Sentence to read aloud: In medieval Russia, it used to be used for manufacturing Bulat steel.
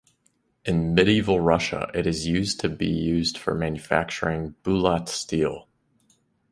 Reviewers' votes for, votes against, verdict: 1, 2, rejected